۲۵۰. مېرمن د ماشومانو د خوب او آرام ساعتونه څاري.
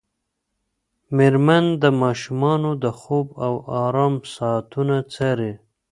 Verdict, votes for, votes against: rejected, 0, 2